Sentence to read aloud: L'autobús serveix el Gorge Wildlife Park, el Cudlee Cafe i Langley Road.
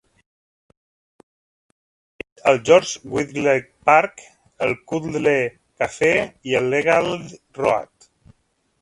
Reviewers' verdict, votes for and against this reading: rejected, 0, 2